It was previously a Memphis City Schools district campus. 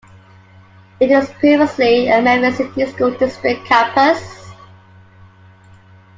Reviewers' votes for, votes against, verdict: 2, 1, accepted